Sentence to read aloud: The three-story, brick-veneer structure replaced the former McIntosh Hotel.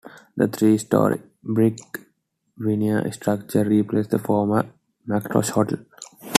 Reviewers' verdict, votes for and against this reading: accepted, 2, 1